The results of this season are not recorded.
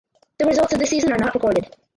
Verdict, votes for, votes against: rejected, 0, 8